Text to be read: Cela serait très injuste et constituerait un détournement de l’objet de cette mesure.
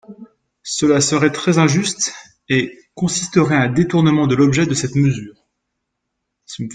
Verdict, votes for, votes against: rejected, 1, 2